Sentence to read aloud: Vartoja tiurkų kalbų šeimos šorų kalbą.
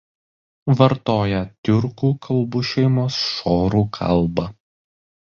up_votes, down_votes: 2, 0